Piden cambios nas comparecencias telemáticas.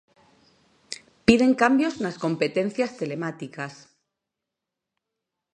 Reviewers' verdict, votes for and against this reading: rejected, 0, 2